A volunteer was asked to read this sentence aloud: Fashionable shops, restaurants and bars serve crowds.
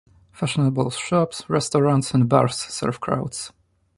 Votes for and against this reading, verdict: 2, 0, accepted